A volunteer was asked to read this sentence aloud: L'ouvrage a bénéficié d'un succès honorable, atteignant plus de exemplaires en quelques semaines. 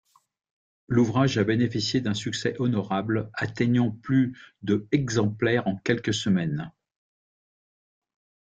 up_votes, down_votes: 2, 1